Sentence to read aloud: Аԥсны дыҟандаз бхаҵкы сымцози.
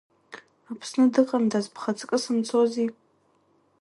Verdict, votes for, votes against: accepted, 2, 0